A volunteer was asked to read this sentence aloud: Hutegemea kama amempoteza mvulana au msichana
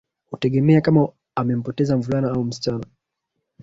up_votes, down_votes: 0, 2